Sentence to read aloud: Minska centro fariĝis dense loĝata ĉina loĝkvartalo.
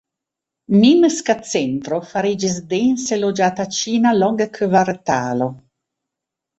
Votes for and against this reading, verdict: 1, 2, rejected